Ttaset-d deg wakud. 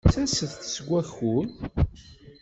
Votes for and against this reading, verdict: 1, 2, rejected